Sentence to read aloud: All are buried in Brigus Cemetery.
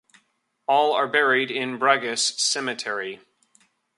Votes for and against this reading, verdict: 2, 0, accepted